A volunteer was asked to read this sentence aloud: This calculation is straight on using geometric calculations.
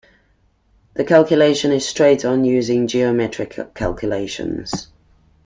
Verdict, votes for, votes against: rejected, 0, 2